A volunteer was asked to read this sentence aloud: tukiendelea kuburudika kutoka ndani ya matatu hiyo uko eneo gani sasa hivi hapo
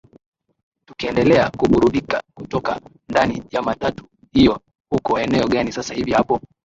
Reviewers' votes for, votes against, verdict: 3, 2, accepted